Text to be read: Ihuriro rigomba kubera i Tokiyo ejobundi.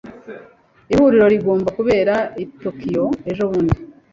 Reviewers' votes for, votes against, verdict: 2, 0, accepted